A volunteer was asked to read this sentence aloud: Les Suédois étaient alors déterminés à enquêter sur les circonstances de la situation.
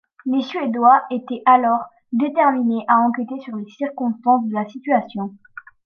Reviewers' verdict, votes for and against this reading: accepted, 2, 0